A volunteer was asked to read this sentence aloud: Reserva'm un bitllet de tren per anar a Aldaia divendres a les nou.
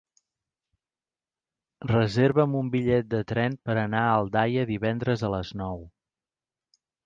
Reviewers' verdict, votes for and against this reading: accepted, 4, 0